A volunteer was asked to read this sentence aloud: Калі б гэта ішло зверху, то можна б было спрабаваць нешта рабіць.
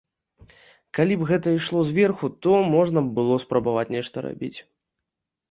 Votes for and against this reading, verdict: 2, 0, accepted